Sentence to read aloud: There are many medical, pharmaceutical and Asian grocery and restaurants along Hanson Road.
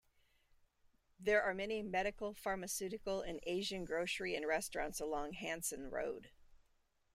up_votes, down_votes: 2, 0